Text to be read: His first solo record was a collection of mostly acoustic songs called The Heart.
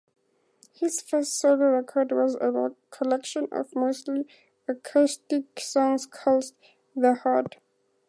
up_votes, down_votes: 2, 0